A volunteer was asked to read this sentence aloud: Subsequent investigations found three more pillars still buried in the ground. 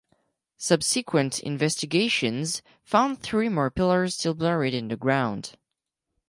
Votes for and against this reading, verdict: 4, 2, accepted